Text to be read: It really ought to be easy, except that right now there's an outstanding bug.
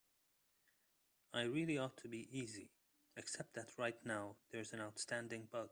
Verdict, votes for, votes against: rejected, 0, 2